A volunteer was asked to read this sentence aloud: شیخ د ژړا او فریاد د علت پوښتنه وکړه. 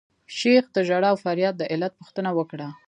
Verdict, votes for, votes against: accepted, 2, 1